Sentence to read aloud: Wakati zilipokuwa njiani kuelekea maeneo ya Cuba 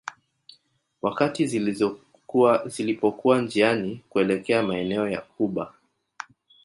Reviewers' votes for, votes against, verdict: 3, 0, accepted